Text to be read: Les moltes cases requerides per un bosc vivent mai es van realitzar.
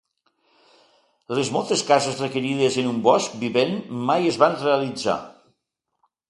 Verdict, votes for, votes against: rejected, 1, 2